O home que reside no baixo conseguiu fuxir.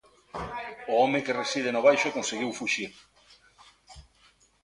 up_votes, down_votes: 1, 2